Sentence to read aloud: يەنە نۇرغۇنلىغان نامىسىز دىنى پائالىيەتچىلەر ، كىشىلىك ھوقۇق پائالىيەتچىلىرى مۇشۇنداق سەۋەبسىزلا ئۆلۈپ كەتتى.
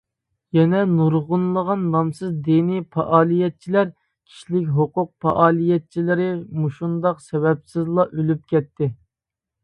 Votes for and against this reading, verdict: 2, 0, accepted